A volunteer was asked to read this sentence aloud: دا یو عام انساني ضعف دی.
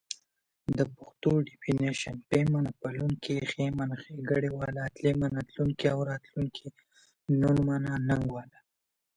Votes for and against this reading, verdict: 0, 2, rejected